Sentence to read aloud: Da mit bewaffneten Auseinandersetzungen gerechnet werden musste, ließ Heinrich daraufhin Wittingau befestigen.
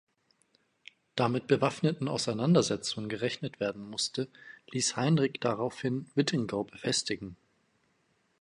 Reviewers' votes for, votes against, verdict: 1, 2, rejected